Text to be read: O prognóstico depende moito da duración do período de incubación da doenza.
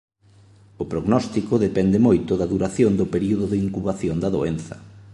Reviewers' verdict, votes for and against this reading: accepted, 2, 0